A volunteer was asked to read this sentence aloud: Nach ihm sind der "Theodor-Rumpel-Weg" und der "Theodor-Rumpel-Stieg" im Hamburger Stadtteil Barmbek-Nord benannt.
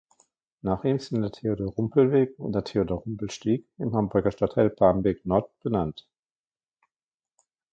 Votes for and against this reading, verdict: 0, 2, rejected